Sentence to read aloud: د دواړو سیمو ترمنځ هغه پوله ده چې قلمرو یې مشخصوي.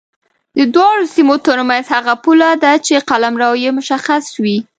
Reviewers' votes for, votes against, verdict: 2, 0, accepted